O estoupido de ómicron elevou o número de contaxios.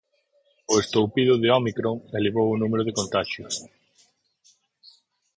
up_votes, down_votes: 4, 0